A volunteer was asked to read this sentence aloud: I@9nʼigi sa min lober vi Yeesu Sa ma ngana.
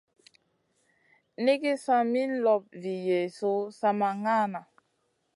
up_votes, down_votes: 0, 2